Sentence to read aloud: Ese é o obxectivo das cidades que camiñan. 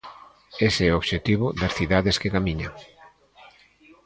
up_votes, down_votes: 2, 0